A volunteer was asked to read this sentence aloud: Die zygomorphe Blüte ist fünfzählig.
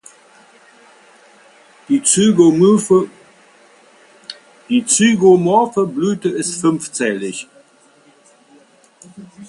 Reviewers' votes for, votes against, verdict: 0, 2, rejected